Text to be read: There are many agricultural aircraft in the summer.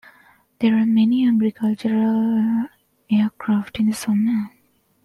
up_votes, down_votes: 0, 2